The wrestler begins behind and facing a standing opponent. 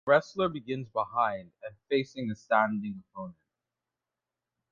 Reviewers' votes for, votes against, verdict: 1, 2, rejected